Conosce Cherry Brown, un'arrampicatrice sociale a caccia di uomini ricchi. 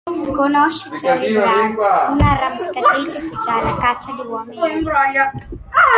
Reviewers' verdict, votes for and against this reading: rejected, 0, 2